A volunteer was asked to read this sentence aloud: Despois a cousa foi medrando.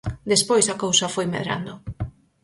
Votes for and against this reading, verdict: 4, 0, accepted